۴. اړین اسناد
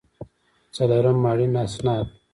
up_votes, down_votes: 0, 2